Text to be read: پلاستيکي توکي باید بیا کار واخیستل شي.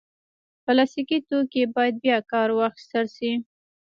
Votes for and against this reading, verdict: 0, 2, rejected